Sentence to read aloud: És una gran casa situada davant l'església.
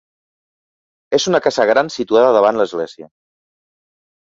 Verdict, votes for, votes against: accepted, 3, 2